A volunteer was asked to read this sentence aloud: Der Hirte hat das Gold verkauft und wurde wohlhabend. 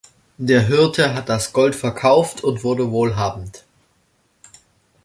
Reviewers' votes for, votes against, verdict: 2, 0, accepted